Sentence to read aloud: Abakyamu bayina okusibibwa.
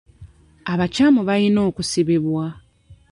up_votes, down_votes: 1, 2